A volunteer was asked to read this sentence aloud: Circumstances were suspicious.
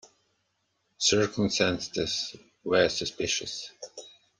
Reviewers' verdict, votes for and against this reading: rejected, 1, 2